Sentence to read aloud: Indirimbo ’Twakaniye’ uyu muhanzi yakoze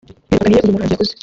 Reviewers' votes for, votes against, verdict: 0, 2, rejected